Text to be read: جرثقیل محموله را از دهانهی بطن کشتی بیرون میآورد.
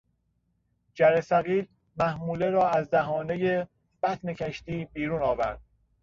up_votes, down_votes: 1, 2